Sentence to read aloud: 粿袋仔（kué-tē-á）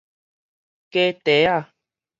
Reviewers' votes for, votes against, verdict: 2, 2, rejected